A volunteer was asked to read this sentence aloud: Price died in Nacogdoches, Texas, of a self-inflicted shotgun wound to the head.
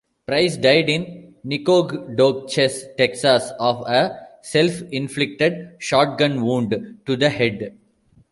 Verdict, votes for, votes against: rejected, 1, 2